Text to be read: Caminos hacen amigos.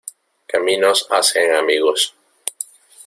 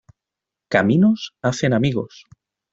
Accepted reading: second